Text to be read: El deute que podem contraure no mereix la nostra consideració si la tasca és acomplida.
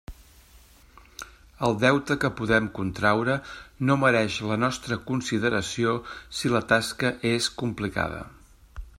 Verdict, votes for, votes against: rejected, 0, 2